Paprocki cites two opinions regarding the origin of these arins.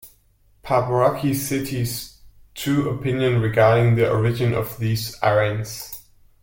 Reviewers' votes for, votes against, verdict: 0, 2, rejected